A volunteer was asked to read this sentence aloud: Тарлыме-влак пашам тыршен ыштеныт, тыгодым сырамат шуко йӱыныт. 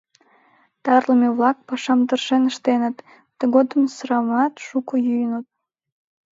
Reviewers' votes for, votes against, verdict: 2, 0, accepted